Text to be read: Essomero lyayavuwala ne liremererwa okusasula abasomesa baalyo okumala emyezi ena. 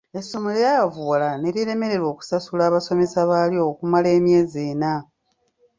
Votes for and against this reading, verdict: 1, 2, rejected